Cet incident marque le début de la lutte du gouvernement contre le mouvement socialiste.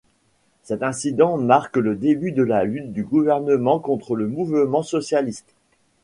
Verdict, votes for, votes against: rejected, 1, 2